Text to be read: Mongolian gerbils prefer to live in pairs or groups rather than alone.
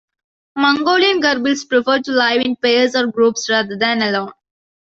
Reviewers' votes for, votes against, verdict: 1, 2, rejected